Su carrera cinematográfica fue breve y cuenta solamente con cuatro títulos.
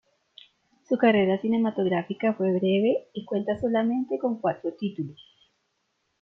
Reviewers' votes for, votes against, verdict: 2, 0, accepted